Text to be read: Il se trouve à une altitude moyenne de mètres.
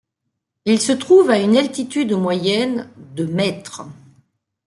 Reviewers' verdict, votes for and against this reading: accepted, 2, 0